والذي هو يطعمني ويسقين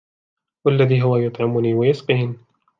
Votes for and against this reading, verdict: 2, 0, accepted